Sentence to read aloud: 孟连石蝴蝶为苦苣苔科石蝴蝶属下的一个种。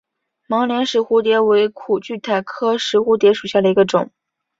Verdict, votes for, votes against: accepted, 2, 1